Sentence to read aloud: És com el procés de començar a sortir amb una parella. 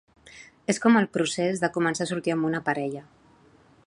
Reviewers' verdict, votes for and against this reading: accepted, 2, 0